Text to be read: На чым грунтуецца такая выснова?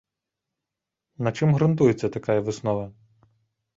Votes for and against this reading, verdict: 2, 0, accepted